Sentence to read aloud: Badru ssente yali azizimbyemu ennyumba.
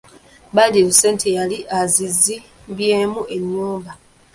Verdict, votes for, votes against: rejected, 0, 2